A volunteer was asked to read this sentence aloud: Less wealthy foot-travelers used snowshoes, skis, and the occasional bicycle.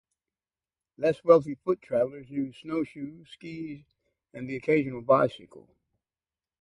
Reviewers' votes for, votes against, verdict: 2, 0, accepted